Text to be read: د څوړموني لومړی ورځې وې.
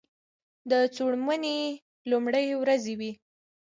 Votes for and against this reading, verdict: 1, 2, rejected